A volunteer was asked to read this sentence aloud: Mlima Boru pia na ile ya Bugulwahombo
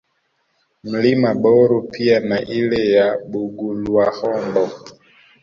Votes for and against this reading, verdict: 2, 0, accepted